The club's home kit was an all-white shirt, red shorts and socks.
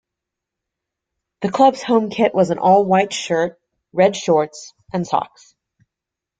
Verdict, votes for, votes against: accepted, 2, 1